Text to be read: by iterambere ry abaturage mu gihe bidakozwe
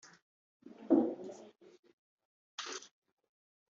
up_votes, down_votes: 0, 2